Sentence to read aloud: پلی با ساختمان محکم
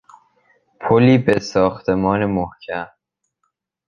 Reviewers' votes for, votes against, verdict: 1, 3, rejected